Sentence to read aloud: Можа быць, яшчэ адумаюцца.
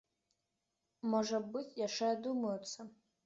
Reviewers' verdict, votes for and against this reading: accepted, 2, 0